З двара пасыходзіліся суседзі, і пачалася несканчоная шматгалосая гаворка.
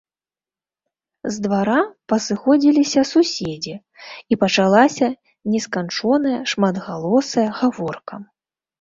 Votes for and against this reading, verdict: 2, 0, accepted